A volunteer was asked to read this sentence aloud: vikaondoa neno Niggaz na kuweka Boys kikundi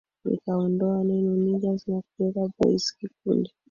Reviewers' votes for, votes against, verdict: 2, 0, accepted